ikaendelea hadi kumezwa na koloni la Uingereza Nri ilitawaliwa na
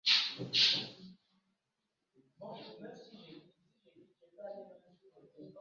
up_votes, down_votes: 0, 2